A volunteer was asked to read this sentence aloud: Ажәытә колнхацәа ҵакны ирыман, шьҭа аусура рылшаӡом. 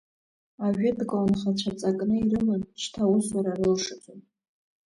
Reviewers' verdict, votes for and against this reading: rejected, 0, 2